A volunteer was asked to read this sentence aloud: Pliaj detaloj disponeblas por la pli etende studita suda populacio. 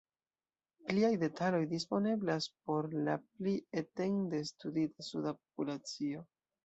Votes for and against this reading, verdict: 1, 2, rejected